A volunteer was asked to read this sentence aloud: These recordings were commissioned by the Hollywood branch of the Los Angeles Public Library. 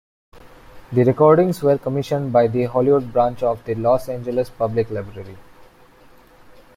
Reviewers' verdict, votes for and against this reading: accepted, 2, 0